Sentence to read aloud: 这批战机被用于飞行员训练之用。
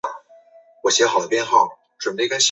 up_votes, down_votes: 0, 2